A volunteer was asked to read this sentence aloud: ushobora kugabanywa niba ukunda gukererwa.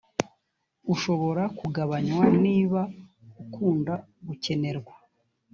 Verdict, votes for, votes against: rejected, 1, 2